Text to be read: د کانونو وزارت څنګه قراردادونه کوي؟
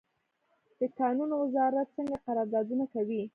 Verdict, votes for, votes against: accepted, 2, 0